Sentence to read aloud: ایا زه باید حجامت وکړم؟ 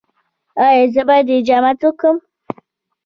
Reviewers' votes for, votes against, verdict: 0, 2, rejected